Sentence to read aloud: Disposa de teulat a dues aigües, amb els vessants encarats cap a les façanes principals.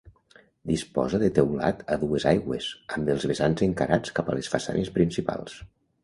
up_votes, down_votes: 2, 0